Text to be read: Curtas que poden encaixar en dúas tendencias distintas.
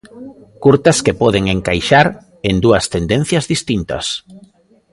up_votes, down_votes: 2, 0